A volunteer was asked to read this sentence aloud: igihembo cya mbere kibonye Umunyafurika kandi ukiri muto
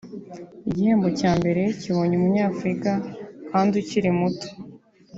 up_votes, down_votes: 2, 0